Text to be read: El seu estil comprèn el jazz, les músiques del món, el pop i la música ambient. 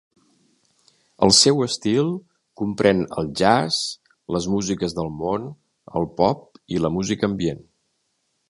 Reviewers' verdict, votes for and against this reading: accepted, 3, 0